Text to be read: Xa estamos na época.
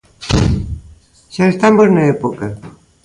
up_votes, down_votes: 2, 0